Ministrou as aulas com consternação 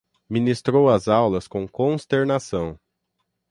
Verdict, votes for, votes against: accepted, 6, 0